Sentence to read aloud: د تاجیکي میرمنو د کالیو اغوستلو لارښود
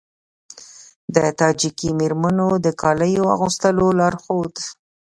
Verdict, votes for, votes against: accepted, 2, 0